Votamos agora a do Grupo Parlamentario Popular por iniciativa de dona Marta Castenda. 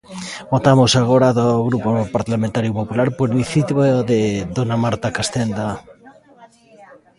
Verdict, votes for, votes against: rejected, 0, 2